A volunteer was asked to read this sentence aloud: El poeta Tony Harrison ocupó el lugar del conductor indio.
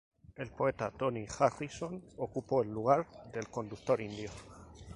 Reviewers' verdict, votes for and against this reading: rejected, 0, 4